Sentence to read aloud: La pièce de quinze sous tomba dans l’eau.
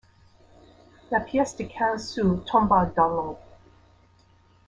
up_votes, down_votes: 0, 2